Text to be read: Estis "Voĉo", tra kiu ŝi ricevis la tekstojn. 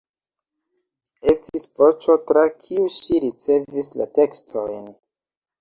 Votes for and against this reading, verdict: 2, 0, accepted